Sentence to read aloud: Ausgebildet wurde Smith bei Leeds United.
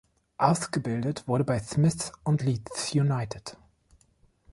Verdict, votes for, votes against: rejected, 0, 2